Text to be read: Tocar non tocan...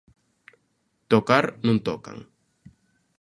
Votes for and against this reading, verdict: 2, 0, accepted